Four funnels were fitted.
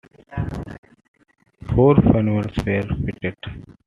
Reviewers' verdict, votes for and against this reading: accepted, 2, 0